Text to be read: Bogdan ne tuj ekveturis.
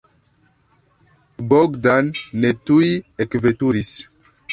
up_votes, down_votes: 0, 2